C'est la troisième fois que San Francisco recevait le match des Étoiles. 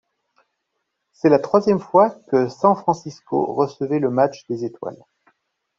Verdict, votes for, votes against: accepted, 2, 0